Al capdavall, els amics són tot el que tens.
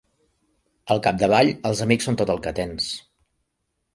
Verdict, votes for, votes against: accepted, 3, 0